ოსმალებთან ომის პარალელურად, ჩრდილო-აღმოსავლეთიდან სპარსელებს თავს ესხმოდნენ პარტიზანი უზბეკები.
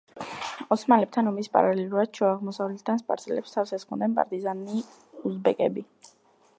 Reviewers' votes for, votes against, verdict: 2, 1, accepted